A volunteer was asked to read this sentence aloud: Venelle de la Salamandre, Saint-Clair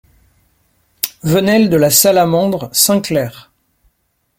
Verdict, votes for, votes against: accepted, 2, 0